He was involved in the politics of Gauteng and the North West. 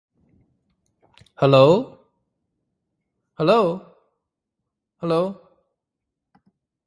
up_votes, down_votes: 0, 2